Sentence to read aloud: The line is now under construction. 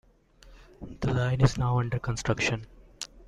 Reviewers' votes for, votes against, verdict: 2, 1, accepted